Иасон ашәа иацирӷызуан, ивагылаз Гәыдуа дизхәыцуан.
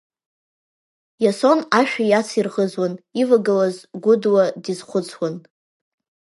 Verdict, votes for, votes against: accepted, 2, 0